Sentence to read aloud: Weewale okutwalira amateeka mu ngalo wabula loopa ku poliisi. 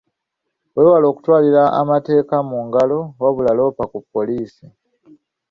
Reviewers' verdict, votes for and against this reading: accepted, 2, 0